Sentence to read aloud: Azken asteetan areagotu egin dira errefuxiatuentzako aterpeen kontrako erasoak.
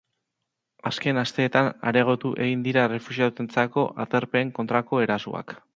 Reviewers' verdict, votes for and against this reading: accepted, 3, 0